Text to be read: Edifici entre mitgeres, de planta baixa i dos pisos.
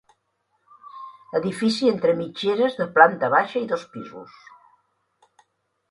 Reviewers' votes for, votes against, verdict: 3, 0, accepted